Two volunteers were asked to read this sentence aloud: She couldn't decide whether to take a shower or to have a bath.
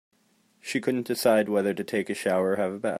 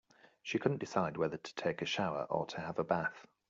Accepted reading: second